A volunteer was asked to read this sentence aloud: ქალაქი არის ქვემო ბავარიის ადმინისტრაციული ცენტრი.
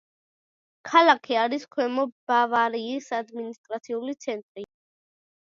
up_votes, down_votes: 0, 2